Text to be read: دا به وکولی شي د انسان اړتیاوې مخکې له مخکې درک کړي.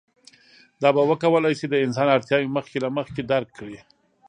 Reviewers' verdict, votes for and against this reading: accepted, 2, 0